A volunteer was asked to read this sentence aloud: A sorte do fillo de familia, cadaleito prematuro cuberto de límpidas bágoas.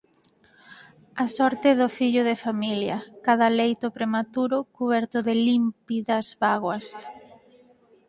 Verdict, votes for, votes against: rejected, 2, 4